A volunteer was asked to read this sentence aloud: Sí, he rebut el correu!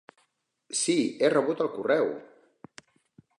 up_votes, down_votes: 3, 0